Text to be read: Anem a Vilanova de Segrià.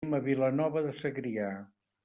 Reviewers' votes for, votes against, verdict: 1, 2, rejected